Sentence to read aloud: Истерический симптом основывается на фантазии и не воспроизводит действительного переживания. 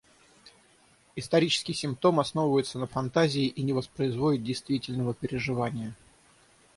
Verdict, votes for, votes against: rejected, 3, 6